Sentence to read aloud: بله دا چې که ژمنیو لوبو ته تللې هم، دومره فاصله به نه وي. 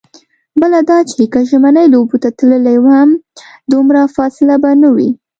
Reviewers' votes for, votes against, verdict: 2, 0, accepted